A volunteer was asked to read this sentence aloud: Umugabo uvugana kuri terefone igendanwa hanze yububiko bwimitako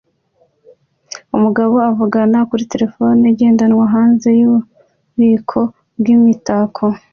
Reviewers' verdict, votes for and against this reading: accepted, 2, 0